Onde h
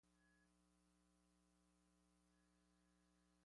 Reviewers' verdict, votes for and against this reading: rejected, 0, 2